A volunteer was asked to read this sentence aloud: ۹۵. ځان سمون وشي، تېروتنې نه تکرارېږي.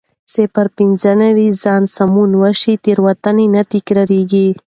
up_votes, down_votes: 0, 2